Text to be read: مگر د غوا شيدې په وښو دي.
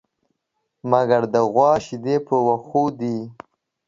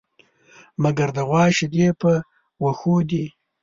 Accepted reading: first